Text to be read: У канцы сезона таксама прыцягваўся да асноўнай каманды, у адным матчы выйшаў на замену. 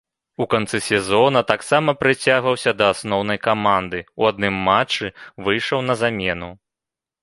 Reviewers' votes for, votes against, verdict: 2, 0, accepted